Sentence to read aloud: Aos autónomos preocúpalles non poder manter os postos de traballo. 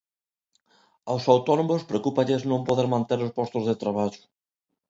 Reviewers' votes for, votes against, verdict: 2, 0, accepted